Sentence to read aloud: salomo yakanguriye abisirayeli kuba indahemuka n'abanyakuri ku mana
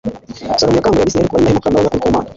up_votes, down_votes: 2, 0